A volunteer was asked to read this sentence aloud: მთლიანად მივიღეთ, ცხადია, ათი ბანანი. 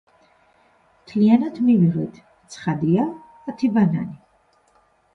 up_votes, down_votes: 2, 0